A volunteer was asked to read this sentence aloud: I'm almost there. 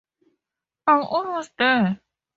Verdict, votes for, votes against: accepted, 2, 0